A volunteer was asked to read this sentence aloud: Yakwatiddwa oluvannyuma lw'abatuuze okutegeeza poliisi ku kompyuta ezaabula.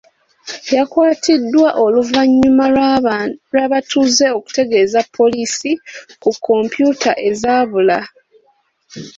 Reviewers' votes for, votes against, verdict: 1, 2, rejected